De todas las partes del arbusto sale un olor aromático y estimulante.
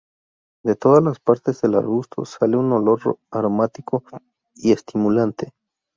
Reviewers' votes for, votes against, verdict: 2, 0, accepted